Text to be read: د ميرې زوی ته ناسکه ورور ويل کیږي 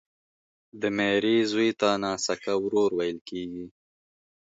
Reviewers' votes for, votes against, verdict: 4, 0, accepted